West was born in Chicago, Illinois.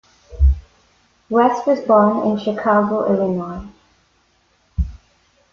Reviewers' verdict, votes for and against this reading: rejected, 1, 2